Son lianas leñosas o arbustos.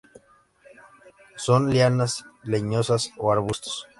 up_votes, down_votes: 2, 0